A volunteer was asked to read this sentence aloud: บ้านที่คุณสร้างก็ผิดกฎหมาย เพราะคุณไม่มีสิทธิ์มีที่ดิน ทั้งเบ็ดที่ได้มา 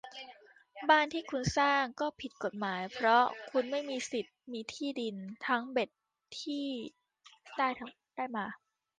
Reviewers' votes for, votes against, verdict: 0, 2, rejected